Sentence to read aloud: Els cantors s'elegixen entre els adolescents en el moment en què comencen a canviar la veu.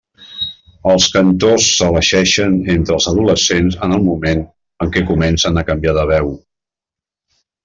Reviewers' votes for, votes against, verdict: 1, 2, rejected